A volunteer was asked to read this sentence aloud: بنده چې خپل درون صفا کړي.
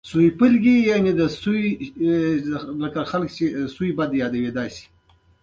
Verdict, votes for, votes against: accepted, 2, 0